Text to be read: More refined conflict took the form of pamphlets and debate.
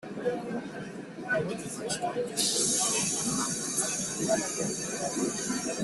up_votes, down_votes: 0, 2